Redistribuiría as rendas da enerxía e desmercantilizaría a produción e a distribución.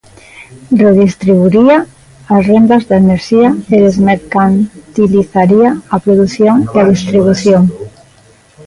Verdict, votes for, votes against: rejected, 0, 2